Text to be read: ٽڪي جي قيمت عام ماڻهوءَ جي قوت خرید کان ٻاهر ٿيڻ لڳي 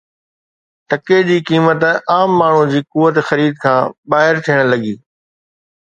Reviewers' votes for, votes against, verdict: 2, 0, accepted